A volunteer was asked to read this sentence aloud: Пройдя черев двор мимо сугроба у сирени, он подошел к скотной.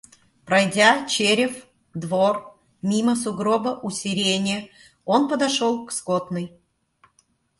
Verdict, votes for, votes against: accepted, 2, 0